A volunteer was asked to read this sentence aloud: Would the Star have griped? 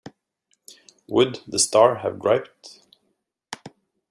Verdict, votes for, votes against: accepted, 2, 0